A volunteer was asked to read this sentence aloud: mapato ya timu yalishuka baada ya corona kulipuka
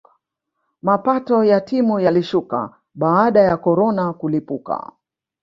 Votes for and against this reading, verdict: 0, 2, rejected